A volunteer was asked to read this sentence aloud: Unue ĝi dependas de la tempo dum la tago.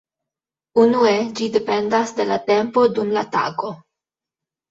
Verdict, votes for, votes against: accepted, 2, 1